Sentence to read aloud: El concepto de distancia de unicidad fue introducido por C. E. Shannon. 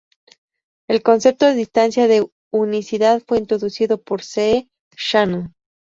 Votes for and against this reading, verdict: 2, 0, accepted